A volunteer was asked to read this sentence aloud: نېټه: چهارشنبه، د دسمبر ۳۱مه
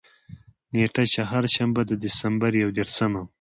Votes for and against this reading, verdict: 0, 2, rejected